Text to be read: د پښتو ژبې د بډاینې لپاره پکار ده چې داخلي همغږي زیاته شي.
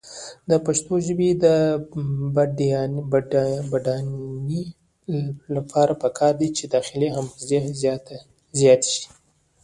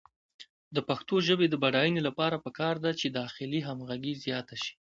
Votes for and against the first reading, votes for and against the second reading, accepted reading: 0, 2, 2, 0, second